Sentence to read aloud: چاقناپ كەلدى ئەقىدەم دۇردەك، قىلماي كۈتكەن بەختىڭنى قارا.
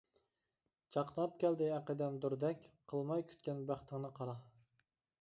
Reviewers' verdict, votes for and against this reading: accepted, 2, 0